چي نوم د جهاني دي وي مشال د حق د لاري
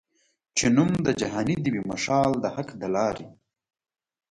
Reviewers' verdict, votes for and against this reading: rejected, 1, 2